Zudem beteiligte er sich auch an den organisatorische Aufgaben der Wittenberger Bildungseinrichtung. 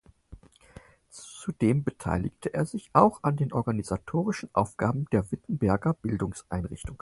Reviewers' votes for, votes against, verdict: 4, 0, accepted